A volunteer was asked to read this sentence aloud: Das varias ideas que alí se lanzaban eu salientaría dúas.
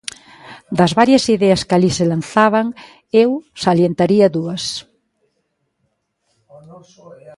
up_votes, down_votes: 1, 2